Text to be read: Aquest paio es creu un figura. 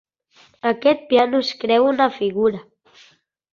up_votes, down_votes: 0, 2